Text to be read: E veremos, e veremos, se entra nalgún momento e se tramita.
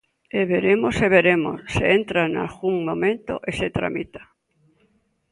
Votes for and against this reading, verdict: 2, 0, accepted